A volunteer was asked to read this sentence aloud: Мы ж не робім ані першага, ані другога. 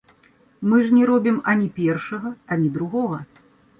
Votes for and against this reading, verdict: 2, 1, accepted